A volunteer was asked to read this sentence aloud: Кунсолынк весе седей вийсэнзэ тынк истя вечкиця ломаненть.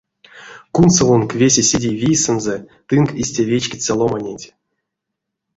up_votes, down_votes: 1, 2